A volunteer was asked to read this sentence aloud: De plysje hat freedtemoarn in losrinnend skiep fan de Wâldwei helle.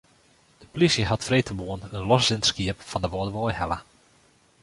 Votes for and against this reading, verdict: 0, 2, rejected